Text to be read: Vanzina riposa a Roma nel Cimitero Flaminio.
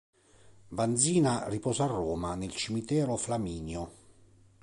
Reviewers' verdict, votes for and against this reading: accepted, 3, 0